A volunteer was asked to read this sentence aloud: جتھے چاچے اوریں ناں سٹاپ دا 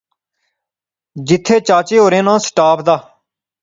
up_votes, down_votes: 2, 0